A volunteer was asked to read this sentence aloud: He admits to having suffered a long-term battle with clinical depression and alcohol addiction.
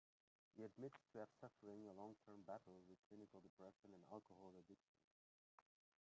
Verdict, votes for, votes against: rejected, 0, 2